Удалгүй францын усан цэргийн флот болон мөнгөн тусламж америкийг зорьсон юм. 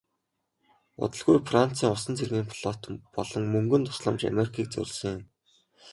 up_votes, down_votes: 2, 0